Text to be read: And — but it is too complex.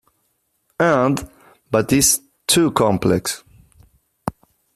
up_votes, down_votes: 0, 3